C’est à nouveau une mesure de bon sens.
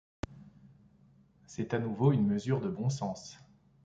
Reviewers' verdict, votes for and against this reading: accepted, 2, 0